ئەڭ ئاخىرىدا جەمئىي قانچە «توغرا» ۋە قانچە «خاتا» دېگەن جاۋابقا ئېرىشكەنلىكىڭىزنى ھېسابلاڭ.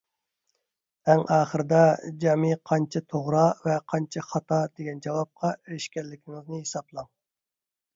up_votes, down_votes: 2, 0